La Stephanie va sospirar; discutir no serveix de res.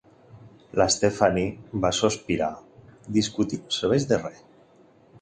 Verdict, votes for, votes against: rejected, 1, 2